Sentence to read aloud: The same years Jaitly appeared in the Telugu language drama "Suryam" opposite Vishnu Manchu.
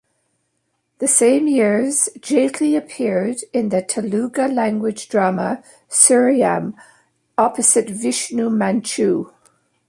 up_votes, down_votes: 0, 2